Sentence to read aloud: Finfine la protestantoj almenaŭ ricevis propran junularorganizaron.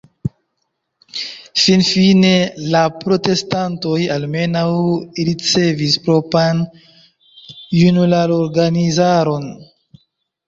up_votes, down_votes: 1, 2